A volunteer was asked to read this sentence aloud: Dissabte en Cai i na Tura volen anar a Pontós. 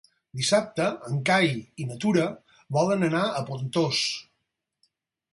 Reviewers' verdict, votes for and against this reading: accepted, 4, 0